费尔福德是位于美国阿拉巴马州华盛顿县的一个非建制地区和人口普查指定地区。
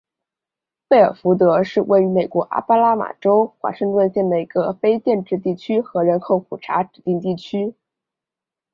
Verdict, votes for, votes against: accepted, 4, 2